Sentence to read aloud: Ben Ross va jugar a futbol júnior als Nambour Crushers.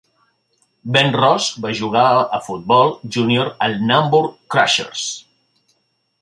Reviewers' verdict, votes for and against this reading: rejected, 1, 2